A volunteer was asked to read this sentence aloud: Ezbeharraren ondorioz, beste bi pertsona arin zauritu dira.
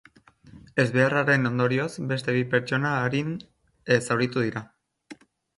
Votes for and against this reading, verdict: 1, 2, rejected